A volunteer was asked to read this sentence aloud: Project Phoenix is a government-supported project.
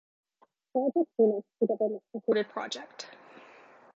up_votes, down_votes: 2, 1